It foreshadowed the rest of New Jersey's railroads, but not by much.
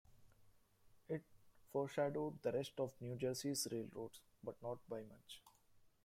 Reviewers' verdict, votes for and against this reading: accepted, 2, 0